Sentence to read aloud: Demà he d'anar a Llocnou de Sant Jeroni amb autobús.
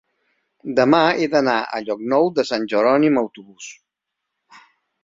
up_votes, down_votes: 1, 2